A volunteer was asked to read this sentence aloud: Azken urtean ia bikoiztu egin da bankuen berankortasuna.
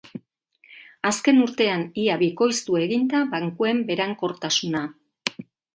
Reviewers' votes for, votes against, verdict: 2, 0, accepted